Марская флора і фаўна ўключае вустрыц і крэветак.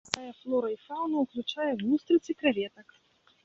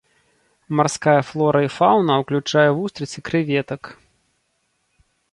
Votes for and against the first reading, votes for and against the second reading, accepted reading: 0, 2, 2, 0, second